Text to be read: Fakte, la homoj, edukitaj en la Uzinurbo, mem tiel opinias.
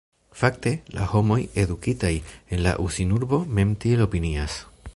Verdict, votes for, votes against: accepted, 2, 0